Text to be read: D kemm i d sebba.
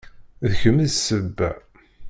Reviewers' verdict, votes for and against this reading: accepted, 2, 0